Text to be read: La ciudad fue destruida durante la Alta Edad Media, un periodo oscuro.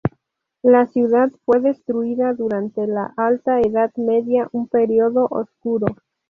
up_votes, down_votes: 2, 2